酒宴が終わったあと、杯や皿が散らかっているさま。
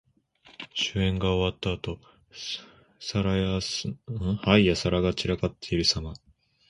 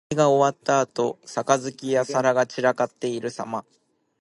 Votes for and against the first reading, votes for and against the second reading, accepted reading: 0, 2, 2, 0, second